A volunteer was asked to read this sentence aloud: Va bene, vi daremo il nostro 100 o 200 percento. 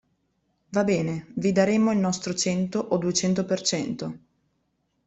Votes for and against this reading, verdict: 0, 2, rejected